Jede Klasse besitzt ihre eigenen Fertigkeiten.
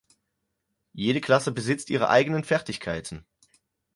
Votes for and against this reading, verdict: 4, 0, accepted